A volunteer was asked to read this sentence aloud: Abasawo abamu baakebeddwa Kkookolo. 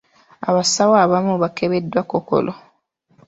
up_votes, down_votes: 2, 1